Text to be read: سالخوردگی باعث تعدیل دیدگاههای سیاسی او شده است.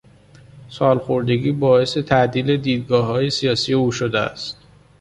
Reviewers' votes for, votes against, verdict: 2, 0, accepted